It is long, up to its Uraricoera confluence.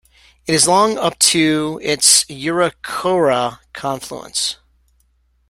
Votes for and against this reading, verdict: 0, 2, rejected